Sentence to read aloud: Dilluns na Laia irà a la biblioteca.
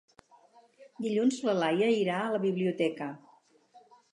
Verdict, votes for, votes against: rejected, 2, 2